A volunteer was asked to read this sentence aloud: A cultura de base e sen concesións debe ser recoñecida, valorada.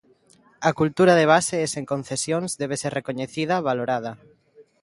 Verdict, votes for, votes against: accepted, 2, 0